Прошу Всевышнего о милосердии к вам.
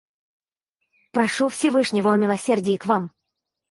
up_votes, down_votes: 2, 4